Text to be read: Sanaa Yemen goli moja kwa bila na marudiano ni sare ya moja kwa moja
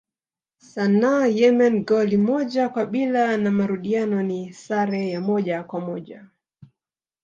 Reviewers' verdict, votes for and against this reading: rejected, 1, 2